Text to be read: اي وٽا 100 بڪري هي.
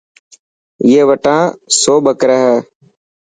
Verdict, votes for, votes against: rejected, 0, 2